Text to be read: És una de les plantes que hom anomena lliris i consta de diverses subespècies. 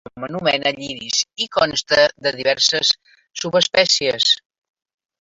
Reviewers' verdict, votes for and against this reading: rejected, 0, 2